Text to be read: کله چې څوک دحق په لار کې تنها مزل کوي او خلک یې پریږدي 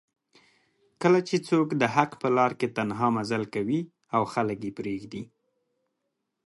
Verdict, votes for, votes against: accepted, 2, 0